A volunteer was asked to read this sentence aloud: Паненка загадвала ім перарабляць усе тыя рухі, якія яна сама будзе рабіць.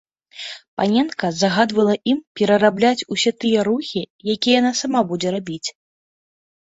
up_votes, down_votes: 2, 1